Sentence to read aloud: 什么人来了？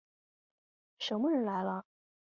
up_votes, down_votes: 6, 0